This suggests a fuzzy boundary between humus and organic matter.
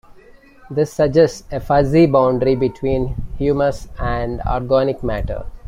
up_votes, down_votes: 1, 2